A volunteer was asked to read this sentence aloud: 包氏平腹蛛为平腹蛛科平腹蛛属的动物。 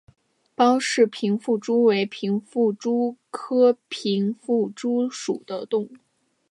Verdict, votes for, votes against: accepted, 2, 0